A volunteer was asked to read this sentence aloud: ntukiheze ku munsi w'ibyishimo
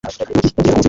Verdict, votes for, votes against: rejected, 1, 2